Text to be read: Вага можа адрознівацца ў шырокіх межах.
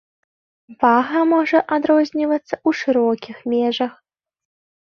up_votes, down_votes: 1, 2